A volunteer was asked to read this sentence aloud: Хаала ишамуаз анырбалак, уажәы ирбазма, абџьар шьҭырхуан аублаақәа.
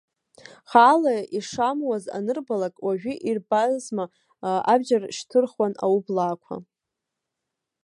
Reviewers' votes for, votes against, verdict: 0, 2, rejected